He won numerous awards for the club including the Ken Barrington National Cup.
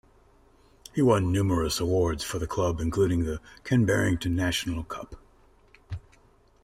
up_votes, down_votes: 2, 0